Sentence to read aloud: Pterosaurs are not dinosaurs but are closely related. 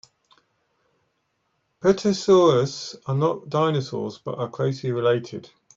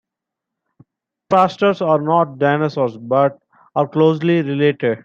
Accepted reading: first